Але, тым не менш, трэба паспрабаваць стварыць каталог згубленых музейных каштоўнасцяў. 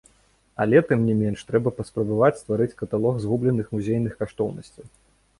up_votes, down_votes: 0, 2